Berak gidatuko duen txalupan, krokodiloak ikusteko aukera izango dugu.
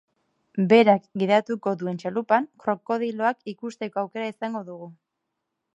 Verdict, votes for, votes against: accepted, 2, 0